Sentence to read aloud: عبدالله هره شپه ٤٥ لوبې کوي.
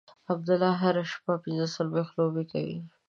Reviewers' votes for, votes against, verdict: 0, 2, rejected